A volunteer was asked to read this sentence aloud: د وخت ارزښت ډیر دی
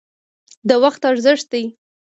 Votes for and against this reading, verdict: 1, 2, rejected